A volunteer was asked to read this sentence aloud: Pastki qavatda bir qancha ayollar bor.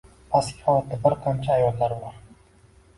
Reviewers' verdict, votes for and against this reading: rejected, 0, 2